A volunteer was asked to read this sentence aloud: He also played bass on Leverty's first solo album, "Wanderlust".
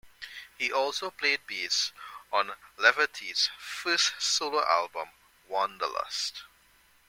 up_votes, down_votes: 2, 0